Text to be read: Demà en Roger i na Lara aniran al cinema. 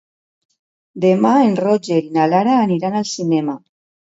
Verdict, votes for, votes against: rejected, 1, 2